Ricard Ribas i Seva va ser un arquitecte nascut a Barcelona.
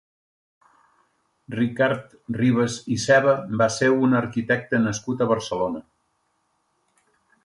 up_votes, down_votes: 2, 0